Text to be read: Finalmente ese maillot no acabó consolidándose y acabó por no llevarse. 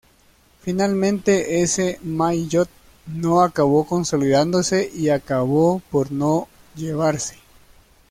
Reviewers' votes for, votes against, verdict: 1, 2, rejected